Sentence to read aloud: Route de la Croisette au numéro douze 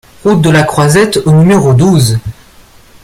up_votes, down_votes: 2, 0